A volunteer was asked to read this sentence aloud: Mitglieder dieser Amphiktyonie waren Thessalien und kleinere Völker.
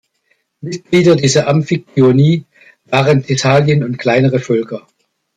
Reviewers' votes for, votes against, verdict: 2, 1, accepted